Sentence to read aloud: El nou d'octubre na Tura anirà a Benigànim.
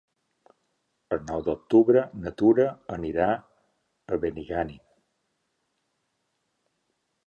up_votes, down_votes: 2, 0